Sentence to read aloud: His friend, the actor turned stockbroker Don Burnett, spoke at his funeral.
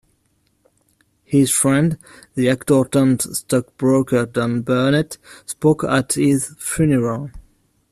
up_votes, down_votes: 2, 0